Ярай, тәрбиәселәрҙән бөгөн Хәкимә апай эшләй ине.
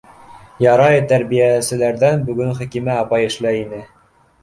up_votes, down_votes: 2, 0